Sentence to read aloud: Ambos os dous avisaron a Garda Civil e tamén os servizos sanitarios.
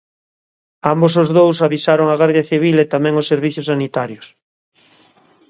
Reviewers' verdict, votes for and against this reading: rejected, 1, 2